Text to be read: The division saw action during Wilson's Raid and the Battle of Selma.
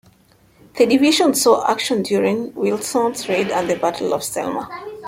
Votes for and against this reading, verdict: 2, 1, accepted